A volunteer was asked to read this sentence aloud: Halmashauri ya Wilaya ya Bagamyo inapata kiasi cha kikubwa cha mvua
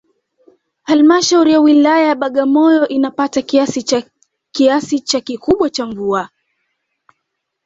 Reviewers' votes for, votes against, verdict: 0, 2, rejected